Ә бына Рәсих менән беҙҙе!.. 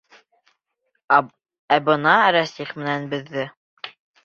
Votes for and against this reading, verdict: 0, 2, rejected